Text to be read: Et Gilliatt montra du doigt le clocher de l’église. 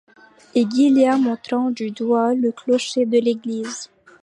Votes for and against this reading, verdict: 1, 2, rejected